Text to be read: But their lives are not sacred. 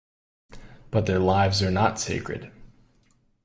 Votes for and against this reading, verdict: 2, 1, accepted